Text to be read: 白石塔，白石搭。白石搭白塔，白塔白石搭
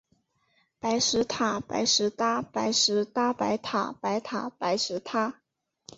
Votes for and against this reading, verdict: 6, 2, accepted